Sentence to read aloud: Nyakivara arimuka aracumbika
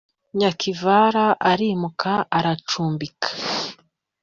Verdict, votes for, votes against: accepted, 2, 0